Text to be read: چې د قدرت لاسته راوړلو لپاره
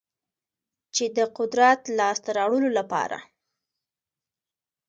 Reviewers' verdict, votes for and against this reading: accepted, 2, 0